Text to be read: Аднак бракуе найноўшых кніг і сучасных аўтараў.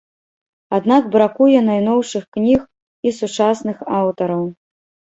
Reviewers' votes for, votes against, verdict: 2, 0, accepted